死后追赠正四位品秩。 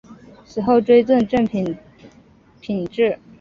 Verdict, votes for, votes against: rejected, 1, 3